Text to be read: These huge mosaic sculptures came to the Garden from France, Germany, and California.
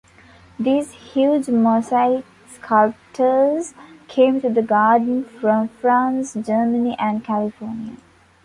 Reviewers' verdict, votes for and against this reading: rejected, 1, 2